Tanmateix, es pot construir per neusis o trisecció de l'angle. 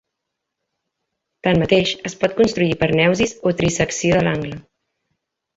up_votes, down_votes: 1, 2